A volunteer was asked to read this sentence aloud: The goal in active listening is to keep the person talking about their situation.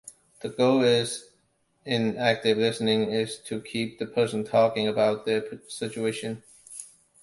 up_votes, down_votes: 0, 2